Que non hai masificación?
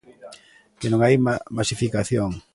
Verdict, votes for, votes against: rejected, 1, 2